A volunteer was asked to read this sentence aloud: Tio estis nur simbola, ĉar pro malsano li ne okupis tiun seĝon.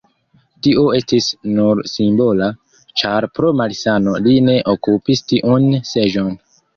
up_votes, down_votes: 1, 2